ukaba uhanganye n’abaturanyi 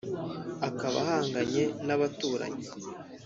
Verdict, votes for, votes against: rejected, 1, 2